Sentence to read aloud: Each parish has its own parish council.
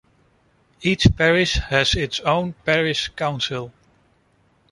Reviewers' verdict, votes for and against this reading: accepted, 2, 0